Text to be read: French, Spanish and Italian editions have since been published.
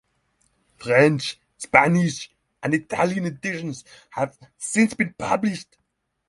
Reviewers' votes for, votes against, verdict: 3, 0, accepted